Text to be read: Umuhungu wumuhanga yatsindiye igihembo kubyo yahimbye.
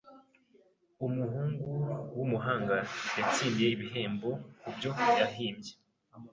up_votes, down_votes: 2, 0